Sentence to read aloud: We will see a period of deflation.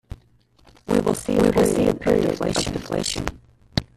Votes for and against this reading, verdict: 0, 2, rejected